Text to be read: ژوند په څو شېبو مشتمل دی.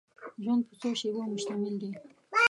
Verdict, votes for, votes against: rejected, 1, 2